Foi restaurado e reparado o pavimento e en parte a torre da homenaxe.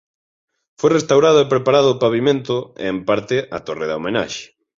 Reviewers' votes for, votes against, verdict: 1, 2, rejected